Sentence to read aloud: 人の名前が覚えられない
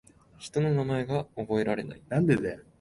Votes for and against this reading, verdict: 0, 2, rejected